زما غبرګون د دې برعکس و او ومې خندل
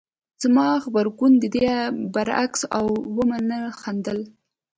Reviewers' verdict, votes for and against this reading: accepted, 2, 1